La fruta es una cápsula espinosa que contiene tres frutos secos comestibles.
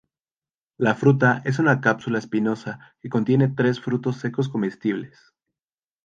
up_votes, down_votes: 2, 2